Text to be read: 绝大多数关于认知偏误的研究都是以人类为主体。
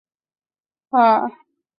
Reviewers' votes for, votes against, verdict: 0, 2, rejected